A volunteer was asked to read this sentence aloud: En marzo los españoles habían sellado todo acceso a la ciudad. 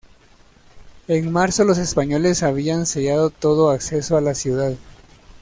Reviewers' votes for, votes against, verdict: 2, 0, accepted